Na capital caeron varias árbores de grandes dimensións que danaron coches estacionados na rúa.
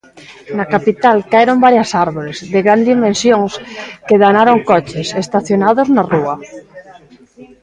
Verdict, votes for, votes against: rejected, 0, 2